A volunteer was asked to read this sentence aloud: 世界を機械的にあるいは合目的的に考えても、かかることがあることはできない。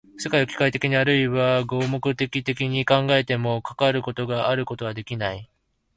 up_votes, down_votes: 3, 0